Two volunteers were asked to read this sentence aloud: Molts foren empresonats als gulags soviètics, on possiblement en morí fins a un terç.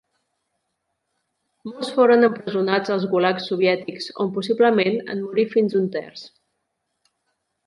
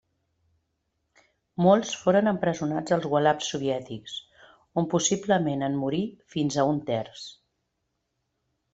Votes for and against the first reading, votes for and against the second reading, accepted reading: 1, 2, 2, 0, second